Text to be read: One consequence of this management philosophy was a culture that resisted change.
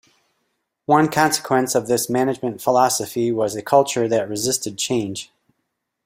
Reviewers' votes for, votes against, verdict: 1, 2, rejected